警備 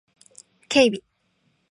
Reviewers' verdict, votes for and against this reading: accepted, 2, 0